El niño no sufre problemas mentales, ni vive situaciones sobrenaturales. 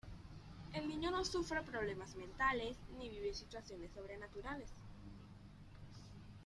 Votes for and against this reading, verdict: 2, 1, accepted